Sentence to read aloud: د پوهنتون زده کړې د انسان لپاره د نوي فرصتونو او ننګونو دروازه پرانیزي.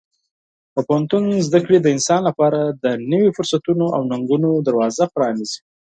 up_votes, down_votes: 4, 2